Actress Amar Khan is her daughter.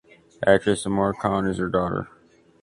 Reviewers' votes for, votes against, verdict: 2, 0, accepted